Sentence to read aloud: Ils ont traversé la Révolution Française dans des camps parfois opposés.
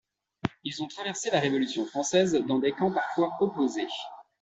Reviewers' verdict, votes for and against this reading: accepted, 2, 0